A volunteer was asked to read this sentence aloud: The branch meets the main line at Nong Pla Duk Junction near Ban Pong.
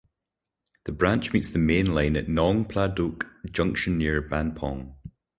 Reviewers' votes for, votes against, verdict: 4, 2, accepted